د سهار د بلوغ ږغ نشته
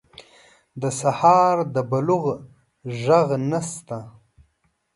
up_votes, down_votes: 3, 0